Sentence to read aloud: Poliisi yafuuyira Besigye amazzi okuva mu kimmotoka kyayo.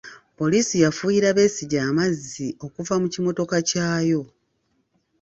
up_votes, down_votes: 2, 0